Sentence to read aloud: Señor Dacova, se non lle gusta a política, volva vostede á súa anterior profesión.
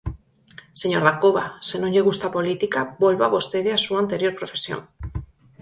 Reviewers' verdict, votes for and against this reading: accepted, 4, 0